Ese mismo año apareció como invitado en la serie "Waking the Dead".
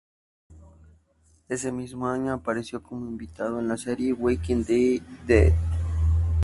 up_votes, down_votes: 0, 2